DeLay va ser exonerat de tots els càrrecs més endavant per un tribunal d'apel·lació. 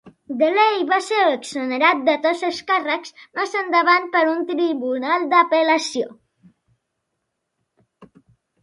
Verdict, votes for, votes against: accepted, 2, 0